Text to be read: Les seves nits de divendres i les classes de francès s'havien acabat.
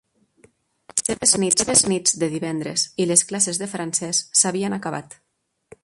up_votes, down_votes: 0, 2